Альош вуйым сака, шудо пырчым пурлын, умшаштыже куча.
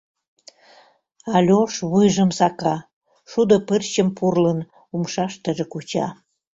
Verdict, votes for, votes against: rejected, 0, 2